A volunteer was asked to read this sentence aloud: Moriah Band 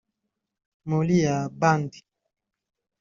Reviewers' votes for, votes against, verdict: 0, 2, rejected